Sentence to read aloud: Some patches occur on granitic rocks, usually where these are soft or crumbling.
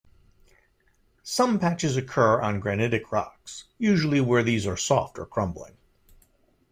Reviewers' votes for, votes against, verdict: 2, 0, accepted